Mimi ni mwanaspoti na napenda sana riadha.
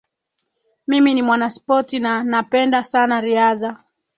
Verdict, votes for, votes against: accepted, 3, 0